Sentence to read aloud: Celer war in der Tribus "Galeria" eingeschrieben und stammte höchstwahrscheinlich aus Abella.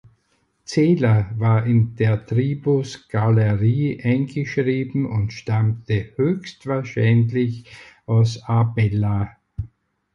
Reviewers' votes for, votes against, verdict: 0, 4, rejected